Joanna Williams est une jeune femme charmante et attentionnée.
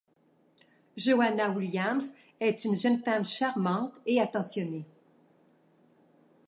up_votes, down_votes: 2, 0